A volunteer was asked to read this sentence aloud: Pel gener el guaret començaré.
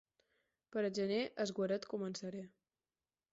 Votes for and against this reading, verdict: 0, 4, rejected